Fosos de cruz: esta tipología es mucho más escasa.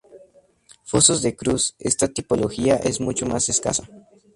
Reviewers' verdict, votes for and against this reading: accepted, 4, 2